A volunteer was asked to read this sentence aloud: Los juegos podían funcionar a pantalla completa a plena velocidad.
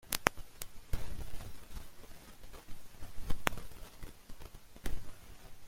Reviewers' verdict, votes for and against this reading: rejected, 0, 2